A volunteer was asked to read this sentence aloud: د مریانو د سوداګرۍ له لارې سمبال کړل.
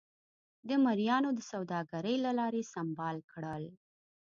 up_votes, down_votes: 2, 0